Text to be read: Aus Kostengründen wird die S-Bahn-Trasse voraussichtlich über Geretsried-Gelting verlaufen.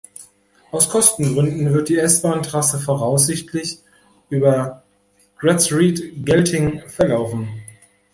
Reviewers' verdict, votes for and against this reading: rejected, 0, 2